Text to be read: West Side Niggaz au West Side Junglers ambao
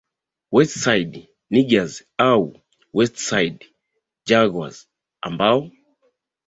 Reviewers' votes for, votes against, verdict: 2, 0, accepted